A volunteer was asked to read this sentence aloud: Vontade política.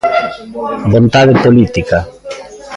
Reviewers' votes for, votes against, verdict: 2, 1, accepted